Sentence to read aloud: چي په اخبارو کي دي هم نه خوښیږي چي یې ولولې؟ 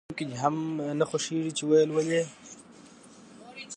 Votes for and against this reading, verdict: 0, 2, rejected